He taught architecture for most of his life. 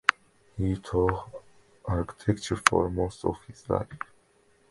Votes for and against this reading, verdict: 0, 2, rejected